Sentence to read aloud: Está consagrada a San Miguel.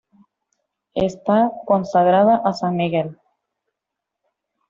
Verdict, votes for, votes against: accepted, 2, 0